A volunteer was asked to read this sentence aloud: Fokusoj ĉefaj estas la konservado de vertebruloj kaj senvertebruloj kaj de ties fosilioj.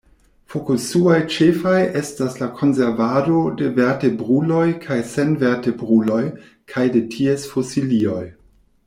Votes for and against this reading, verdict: 0, 2, rejected